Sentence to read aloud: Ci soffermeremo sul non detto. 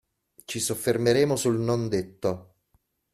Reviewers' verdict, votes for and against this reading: accepted, 2, 0